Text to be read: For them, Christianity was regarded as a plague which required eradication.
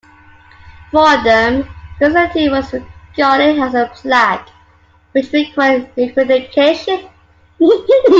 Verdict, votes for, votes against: rejected, 0, 2